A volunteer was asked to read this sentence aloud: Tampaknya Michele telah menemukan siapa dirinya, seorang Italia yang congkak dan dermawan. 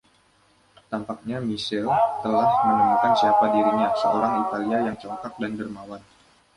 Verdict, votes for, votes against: accepted, 2, 1